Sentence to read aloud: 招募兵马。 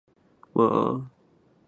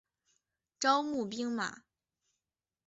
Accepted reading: second